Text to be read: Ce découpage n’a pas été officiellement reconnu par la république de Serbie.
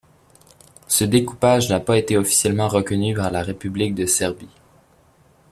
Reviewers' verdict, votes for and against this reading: accepted, 2, 1